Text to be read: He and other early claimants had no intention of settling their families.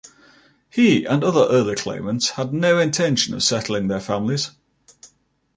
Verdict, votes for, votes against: accepted, 2, 1